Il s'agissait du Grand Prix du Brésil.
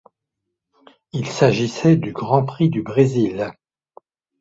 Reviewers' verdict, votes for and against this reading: accepted, 2, 0